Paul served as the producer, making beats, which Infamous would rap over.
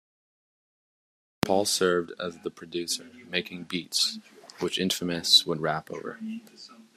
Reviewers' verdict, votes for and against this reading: accepted, 2, 0